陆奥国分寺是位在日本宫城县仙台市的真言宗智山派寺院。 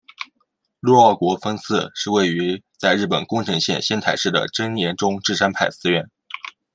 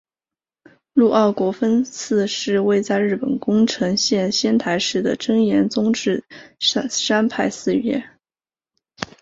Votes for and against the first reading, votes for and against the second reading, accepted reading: 1, 2, 4, 0, second